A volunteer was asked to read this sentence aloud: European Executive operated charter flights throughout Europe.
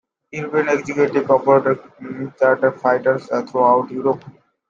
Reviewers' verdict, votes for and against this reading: rejected, 0, 2